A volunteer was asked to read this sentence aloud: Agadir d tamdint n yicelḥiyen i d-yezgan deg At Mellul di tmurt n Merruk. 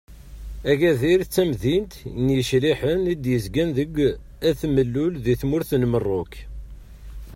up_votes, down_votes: 0, 2